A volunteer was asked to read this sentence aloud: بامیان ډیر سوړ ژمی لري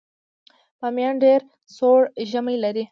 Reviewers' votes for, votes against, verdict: 2, 0, accepted